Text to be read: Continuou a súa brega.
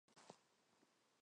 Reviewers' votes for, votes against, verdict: 0, 4, rejected